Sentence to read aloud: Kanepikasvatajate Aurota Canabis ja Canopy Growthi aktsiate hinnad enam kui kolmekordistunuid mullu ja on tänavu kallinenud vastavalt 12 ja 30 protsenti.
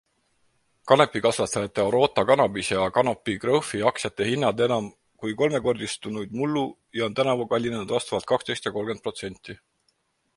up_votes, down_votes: 0, 2